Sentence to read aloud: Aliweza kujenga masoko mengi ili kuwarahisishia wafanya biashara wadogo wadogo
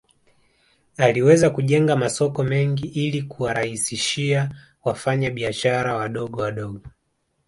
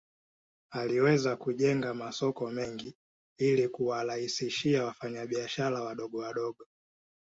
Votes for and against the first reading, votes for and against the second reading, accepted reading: 0, 2, 2, 0, second